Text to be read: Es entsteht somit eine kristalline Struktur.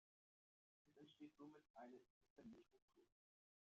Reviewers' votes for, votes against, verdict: 0, 2, rejected